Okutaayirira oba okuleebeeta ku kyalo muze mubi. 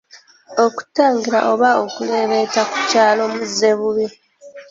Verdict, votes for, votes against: rejected, 0, 2